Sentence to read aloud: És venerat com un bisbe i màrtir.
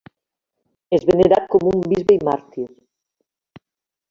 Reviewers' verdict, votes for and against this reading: rejected, 0, 2